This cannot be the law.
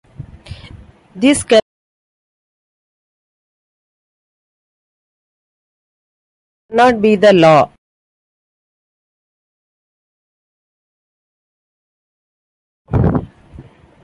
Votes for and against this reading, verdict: 0, 2, rejected